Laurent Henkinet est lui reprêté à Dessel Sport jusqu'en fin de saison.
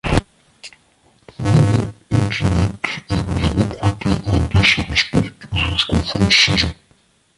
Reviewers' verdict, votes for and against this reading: rejected, 0, 2